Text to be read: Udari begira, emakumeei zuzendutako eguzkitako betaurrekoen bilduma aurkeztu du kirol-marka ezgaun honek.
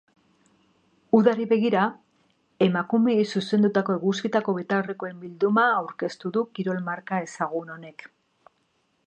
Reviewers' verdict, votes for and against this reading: accepted, 3, 0